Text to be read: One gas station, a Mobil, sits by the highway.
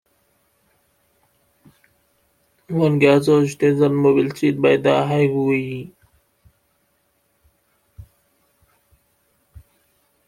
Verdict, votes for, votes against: rejected, 0, 2